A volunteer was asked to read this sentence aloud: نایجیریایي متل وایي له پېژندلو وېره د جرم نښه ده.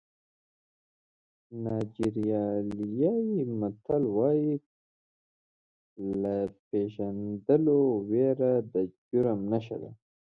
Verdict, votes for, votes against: rejected, 1, 2